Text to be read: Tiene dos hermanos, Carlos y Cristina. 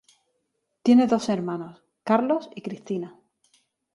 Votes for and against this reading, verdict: 2, 0, accepted